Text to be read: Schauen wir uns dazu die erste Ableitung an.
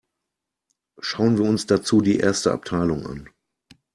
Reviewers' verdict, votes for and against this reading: rejected, 0, 2